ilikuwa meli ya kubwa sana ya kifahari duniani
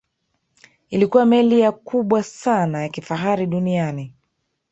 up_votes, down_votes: 1, 2